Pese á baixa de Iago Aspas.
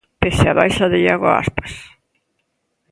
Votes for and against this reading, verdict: 2, 0, accepted